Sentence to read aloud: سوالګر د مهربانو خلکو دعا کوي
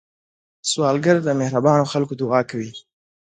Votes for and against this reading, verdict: 2, 0, accepted